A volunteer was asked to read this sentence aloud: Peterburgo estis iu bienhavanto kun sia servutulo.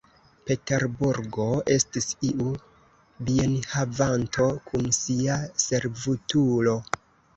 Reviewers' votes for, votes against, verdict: 2, 3, rejected